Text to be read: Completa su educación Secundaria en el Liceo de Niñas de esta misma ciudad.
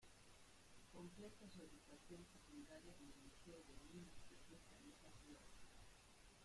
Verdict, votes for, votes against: rejected, 0, 2